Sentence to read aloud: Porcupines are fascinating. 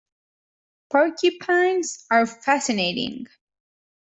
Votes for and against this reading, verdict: 2, 1, accepted